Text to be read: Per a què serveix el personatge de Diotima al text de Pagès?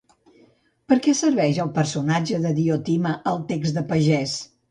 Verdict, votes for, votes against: rejected, 1, 2